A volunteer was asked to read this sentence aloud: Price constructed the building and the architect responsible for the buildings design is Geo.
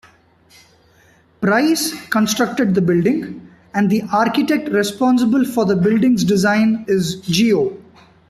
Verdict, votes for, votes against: accepted, 2, 0